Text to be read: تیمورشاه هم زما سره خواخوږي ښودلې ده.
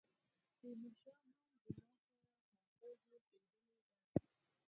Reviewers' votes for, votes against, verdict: 0, 4, rejected